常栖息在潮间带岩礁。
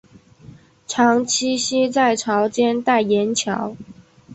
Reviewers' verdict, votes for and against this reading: accepted, 3, 0